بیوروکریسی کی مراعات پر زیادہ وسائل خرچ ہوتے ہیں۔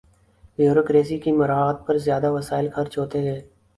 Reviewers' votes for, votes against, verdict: 4, 0, accepted